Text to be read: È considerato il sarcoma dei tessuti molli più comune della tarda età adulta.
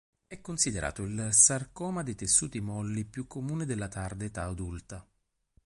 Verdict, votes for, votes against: accepted, 2, 0